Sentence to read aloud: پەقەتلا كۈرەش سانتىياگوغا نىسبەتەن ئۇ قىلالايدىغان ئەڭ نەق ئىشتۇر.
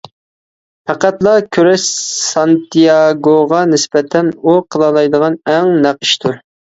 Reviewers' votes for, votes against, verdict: 2, 1, accepted